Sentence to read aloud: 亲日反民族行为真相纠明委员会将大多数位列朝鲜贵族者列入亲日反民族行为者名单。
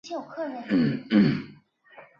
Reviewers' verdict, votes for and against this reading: rejected, 1, 5